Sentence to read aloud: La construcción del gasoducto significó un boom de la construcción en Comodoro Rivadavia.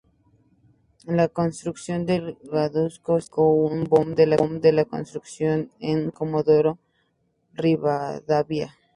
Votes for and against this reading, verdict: 0, 2, rejected